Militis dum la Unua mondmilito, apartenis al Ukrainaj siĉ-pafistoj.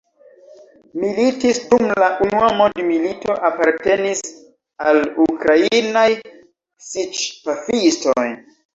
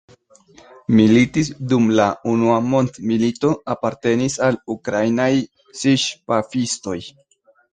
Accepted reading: first